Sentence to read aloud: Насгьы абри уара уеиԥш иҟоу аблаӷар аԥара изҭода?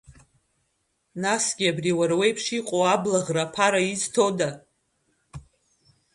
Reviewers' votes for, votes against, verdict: 0, 2, rejected